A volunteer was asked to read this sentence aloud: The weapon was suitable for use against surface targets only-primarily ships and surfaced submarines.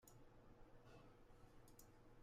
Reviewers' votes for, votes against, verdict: 0, 2, rejected